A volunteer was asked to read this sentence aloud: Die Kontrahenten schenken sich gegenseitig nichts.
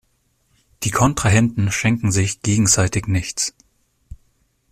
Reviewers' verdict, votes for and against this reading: accepted, 2, 0